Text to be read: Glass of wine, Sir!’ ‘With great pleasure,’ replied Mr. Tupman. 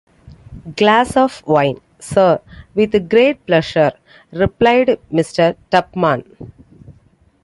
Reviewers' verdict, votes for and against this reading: accepted, 2, 0